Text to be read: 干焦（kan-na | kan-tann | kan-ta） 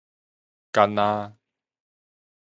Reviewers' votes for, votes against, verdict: 0, 2, rejected